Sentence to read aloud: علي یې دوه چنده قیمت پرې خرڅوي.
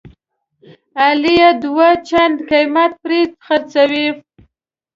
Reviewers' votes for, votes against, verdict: 2, 1, accepted